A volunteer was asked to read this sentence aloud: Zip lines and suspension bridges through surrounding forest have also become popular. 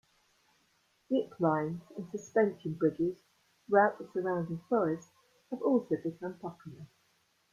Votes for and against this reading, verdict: 0, 2, rejected